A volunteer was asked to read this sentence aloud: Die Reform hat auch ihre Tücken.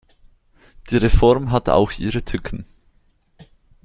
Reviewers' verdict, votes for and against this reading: accepted, 2, 0